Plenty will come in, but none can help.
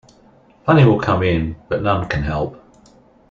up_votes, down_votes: 1, 2